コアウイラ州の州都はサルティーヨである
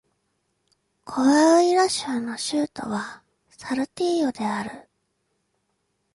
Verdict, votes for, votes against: accepted, 2, 0